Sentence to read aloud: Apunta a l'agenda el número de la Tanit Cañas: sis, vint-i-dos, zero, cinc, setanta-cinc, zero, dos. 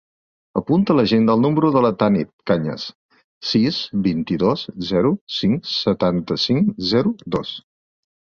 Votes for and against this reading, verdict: 3, 0, accepted